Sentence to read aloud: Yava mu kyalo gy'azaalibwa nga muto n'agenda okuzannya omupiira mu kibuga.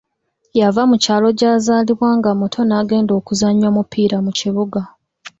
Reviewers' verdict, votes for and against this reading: accepted, 2, 0